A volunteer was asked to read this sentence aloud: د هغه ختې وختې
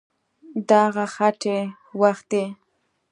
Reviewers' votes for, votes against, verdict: 2, 0, accepted